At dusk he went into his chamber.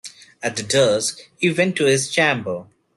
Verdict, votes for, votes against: rejected, 0, 2